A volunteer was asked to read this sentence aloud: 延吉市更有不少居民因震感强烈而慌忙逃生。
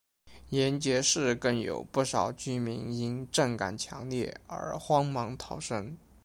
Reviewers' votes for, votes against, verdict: 2, 0, accepted